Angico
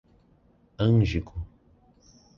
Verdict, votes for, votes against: rejected, 1, 2